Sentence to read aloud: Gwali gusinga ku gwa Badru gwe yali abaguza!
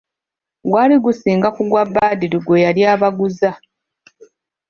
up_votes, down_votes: 2, 1